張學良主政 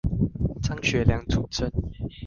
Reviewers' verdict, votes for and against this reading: accepted, 2, 0